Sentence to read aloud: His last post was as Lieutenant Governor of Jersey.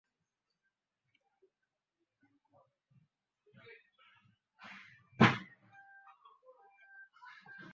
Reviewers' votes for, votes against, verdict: 0, 2, rejected